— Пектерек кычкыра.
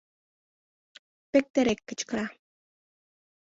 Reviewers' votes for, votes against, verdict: 2, 0, accepted